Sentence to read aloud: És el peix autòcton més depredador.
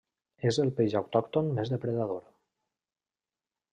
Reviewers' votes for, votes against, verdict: 3, 0, accepted